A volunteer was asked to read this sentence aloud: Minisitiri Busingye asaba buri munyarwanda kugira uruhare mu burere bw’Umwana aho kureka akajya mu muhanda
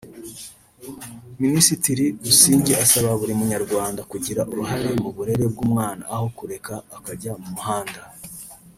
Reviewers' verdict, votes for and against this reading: rejected, 1, 2